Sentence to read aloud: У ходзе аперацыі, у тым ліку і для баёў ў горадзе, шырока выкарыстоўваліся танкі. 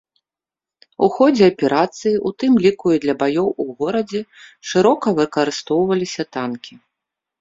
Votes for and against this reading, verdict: 2, 0, accepted